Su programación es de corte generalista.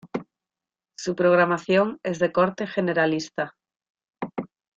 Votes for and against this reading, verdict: 2, 1, accepted